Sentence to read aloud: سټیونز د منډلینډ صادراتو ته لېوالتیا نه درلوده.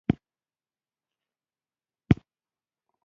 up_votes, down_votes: 0, 2